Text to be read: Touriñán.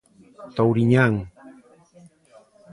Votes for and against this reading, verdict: 2, 0, accepted